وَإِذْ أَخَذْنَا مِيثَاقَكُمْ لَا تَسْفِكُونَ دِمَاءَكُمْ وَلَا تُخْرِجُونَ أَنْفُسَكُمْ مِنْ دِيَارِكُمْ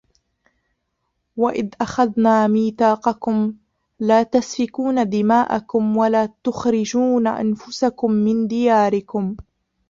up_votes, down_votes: 0, 2